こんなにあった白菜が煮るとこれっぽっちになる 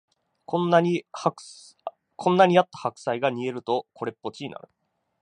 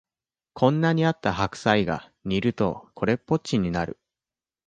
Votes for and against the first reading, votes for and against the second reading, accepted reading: 0, 2, 2, 0, second